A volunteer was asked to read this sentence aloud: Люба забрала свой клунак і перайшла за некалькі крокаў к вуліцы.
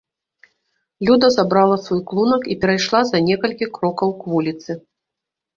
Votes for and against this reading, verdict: 1, 2, rejected